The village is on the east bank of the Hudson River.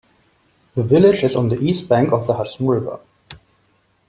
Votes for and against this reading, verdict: 2, 0, accepted